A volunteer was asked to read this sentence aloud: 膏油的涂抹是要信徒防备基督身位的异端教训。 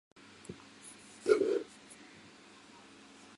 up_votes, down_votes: 0, 3